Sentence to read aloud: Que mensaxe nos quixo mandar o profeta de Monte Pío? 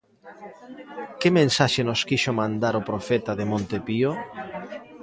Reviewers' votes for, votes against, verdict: 2, 0, accepted